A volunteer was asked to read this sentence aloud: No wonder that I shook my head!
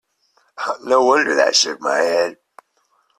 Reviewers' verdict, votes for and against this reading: accepted, 2, 0